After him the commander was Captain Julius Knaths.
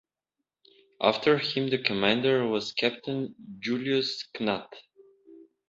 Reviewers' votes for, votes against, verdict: 0, 2, rejected